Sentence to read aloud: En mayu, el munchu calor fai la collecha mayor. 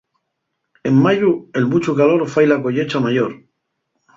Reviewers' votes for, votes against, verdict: 2, 0, accepted